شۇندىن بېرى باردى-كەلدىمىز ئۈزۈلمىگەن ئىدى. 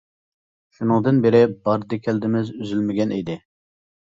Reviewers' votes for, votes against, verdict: 0, 2, rejected